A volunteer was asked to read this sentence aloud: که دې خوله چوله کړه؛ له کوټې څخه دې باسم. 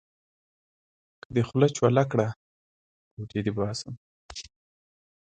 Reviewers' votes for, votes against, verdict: 1, 2, rejected